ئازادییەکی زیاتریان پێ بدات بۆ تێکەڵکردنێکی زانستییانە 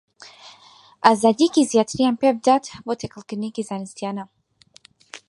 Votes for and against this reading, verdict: 4, 0, accepted